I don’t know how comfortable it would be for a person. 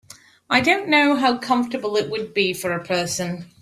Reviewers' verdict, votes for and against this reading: accepted, 3, 0